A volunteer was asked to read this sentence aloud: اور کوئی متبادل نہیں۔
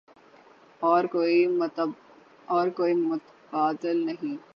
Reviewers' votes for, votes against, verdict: 3, 12, rejected